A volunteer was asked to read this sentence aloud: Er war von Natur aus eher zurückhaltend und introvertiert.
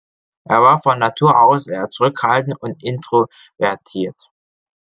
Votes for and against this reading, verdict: 1, 2, rejected